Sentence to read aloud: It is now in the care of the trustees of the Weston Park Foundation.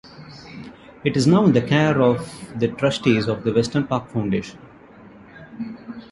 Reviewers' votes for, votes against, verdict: 3, 0, accepted